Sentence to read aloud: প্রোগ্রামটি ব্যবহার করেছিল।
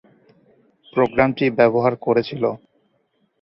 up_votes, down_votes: 2, 0